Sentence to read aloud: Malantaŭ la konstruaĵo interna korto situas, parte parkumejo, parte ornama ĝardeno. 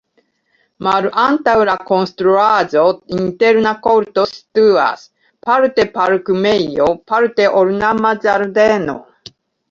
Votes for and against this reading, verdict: 0, 2, rejected